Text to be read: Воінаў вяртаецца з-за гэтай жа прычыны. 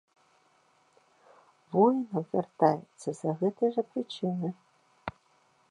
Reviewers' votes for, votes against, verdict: 0, 2, rejected